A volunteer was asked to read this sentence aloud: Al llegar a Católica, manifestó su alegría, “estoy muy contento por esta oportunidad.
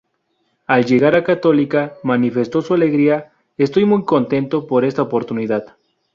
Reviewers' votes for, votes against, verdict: 0, 2, rejected